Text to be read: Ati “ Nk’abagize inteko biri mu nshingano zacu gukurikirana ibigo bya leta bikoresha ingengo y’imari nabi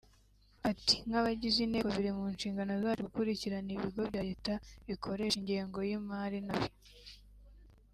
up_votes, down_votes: 2, 0